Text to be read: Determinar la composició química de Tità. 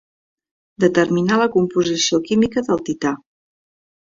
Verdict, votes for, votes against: rejected, 1, 2